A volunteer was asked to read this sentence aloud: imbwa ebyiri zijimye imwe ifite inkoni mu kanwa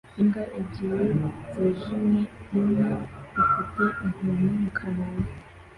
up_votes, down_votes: 2, 0